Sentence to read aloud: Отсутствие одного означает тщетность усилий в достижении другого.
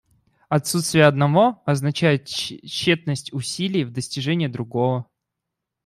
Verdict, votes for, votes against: rejected, 1, 2